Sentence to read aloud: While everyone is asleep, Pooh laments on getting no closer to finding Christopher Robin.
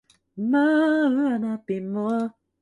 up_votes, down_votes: 0, 2